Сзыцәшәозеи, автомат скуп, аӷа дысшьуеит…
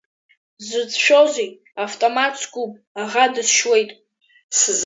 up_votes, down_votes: 1, 2